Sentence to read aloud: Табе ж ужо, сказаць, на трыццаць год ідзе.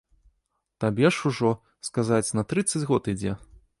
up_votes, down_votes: 2, 0